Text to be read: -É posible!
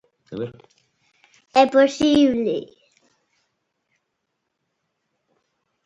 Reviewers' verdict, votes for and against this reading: rejected, 0, 2